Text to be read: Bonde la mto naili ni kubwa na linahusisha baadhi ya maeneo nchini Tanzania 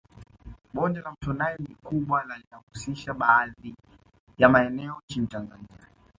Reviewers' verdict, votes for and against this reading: rejected, 0, 2